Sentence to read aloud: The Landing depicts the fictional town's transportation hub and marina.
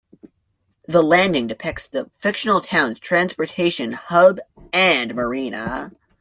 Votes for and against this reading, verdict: 2, 0, accepted